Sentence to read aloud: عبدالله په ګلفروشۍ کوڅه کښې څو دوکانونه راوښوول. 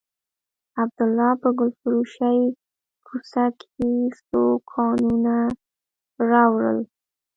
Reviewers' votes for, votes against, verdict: 1, 2, rejected